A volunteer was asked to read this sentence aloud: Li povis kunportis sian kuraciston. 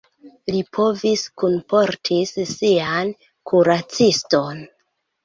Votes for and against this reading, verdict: 2, 1, accepted